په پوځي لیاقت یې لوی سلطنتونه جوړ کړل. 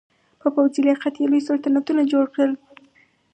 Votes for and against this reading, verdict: 2, 2, rejected